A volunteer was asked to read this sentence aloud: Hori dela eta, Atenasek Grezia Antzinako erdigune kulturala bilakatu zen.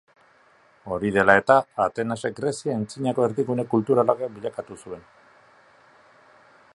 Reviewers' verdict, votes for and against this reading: rejected, 0, 2